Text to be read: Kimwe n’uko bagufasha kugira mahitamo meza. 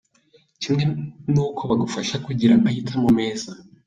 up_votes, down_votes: 2, 0